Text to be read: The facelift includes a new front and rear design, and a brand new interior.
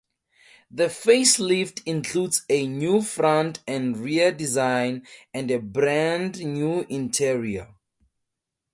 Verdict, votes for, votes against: accepted, 4, 0